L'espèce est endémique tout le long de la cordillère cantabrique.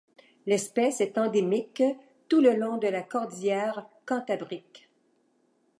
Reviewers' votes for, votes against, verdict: 2, 0, accepted